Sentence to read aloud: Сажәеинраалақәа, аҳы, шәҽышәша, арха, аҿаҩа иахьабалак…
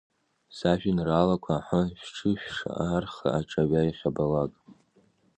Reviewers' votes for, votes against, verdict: 0, 2, rejected